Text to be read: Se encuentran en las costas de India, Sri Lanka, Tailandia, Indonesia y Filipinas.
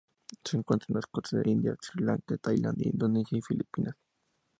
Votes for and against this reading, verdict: 2, 0, accepted